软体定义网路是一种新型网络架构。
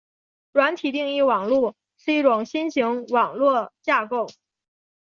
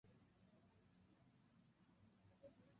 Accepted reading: first